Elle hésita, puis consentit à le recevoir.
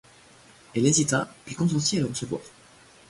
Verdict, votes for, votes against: rejected, 1, 2